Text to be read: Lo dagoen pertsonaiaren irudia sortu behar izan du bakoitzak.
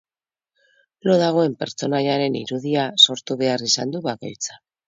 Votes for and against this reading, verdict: 0, 2, rejected